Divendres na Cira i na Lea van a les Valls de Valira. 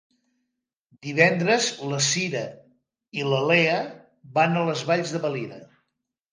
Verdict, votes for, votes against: rejected, 0, 2